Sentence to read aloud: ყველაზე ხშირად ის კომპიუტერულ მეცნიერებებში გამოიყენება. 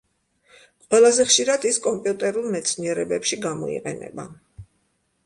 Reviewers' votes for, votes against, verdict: 2, 0, accepted